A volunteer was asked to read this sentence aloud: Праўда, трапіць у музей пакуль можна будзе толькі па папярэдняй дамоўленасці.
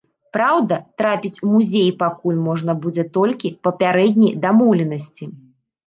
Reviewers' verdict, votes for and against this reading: rejected, 0, 2